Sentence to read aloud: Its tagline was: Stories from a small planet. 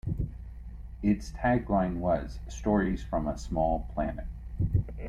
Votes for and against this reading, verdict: 2, 1, accepted